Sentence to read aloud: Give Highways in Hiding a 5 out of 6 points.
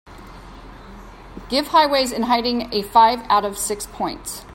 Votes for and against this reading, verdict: 0, 2, rejected